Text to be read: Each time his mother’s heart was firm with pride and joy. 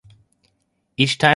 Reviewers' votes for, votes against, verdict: 0, 2, rejected